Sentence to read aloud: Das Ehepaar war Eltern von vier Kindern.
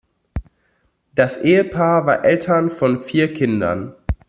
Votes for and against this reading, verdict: 2, 0, accepted